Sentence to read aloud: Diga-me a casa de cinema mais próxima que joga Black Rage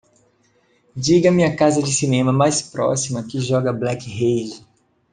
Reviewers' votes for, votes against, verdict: 2, 0, accepted